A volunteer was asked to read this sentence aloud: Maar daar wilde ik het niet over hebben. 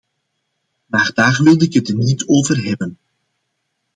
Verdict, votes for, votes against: accepted, 2, 0